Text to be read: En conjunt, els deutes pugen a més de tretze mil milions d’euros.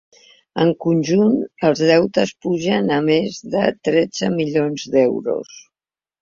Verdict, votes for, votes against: rejected, 0, 2